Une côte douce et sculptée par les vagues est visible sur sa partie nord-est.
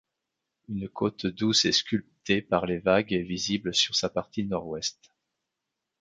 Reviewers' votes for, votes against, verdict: 0, 2, rejected